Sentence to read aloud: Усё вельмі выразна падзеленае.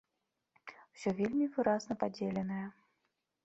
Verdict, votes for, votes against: accepted, 2, 0